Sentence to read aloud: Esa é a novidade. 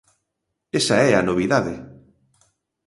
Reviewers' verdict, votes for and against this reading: accepted, 2, 0